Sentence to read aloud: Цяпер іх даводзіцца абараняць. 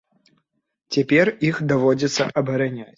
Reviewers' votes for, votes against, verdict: 1, 2, rejected